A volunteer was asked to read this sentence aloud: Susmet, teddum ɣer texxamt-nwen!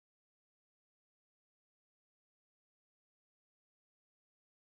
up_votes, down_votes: 0, 2